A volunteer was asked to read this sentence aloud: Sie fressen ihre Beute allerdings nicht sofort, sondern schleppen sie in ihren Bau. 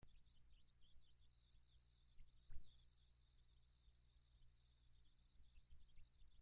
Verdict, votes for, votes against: rejected, 0, 2